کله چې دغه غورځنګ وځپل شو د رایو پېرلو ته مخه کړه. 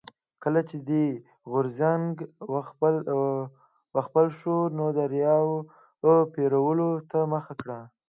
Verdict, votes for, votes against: rejected, 1, 2